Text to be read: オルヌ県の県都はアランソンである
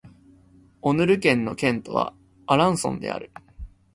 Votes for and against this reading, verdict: 1, 2, rejected